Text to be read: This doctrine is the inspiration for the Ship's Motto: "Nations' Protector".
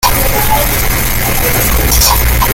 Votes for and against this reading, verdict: 0, 2, rejected